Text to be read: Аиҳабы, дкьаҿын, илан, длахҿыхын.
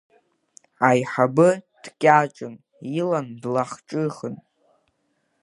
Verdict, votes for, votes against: accepted, 2, 0